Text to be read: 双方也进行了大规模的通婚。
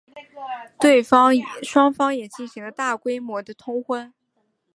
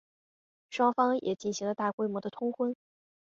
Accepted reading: second